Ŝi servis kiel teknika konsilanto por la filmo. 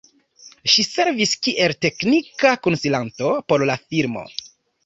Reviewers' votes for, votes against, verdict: 0, 2, rejected